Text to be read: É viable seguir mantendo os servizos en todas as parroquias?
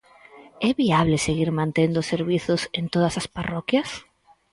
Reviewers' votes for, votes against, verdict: 2, 4, rejected